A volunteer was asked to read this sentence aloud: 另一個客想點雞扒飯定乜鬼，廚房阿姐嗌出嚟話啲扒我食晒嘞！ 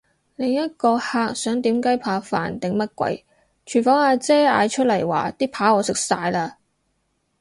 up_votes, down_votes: 4, 0